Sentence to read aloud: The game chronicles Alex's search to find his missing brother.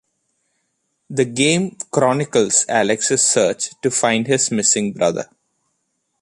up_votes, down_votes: 2, 0